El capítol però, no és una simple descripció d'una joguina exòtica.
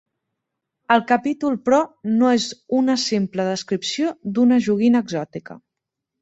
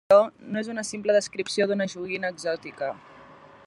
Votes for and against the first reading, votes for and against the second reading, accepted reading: 3, 0, 0, 2, first